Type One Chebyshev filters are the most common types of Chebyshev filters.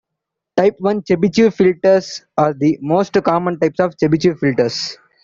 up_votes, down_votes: 0, 2